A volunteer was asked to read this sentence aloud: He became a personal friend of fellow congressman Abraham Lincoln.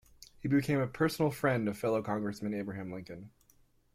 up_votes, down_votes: 2, 1